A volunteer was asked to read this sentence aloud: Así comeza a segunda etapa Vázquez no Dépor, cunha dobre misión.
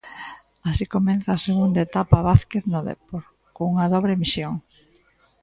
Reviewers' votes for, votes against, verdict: 0, 2, rejected